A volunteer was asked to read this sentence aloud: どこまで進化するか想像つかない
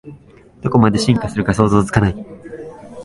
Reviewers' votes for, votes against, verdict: 4, 0, accepted